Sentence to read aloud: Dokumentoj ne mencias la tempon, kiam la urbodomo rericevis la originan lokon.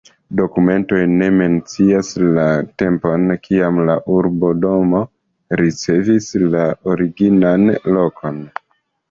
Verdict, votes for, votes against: rejected, 1, 2